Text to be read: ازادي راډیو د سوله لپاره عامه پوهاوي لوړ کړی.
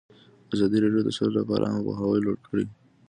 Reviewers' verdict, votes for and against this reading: accepted, 2, 0